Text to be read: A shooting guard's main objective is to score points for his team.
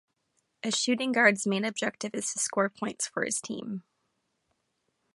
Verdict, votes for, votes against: accepted, 2, 0